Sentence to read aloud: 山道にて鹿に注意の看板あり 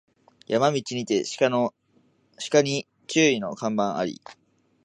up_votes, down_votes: 2, 3